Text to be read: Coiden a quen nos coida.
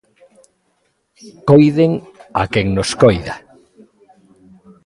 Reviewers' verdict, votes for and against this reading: rejected, 1, 2